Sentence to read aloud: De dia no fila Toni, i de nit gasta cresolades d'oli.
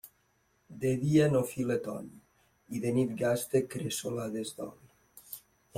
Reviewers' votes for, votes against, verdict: 1, 2, rejected